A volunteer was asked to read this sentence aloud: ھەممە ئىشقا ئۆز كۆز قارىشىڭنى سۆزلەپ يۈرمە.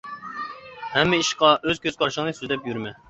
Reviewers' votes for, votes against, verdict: 2, 1, accepted